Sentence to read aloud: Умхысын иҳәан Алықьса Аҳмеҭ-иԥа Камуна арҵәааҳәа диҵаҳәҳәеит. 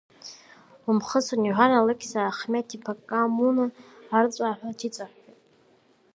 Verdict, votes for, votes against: rejected, 1, 2